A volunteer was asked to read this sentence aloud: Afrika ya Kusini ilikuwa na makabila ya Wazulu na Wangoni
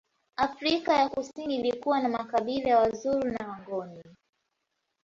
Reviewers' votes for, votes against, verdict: 0, 2, rejected